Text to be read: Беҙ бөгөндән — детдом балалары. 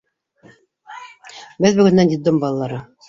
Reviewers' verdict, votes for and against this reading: accepted, 2, 1